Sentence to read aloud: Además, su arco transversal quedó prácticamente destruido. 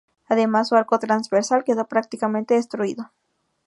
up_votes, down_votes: 2, 0